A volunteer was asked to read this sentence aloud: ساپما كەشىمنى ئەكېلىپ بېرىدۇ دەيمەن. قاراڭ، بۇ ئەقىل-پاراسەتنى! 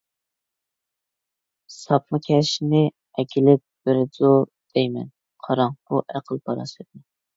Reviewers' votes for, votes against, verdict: 1, 2, rejected